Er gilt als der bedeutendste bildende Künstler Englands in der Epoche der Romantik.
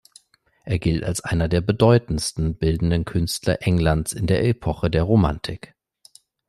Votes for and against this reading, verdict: 2, 0, accepted